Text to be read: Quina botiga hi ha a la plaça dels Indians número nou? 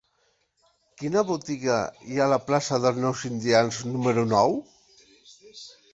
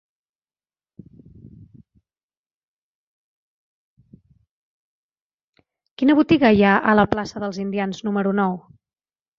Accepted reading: second